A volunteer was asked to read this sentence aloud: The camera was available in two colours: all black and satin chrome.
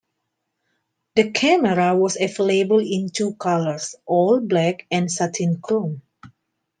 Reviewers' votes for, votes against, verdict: 2, 1, accepted